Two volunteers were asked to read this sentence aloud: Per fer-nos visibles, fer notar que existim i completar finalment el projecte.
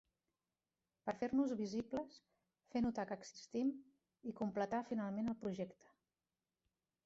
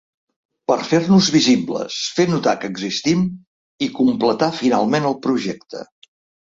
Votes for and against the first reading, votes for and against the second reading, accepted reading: 0, 2, 3, 0, second